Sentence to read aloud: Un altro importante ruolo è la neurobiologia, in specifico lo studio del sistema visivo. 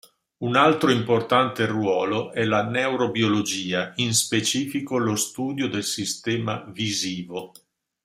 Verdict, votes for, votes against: accepted, 2, 0